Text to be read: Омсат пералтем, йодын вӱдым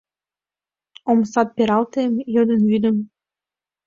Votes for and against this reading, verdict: 2, 0, accepted